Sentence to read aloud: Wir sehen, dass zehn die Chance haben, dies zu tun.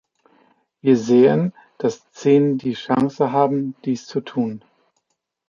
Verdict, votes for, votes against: accepted, 2, 0